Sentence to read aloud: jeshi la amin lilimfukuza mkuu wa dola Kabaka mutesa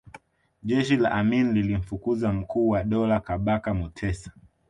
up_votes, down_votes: 2, 0